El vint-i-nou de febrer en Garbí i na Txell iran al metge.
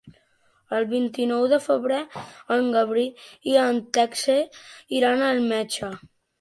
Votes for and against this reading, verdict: 1, 2, rejected